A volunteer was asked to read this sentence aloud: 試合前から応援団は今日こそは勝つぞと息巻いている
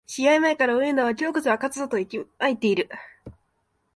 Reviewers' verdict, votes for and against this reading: accepted, 3, 0